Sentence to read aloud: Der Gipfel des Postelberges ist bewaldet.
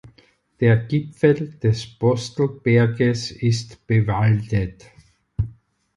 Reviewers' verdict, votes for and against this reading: accepted, 4, 0